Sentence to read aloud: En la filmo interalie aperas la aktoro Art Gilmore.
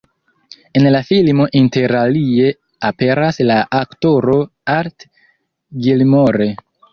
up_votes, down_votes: 2, 3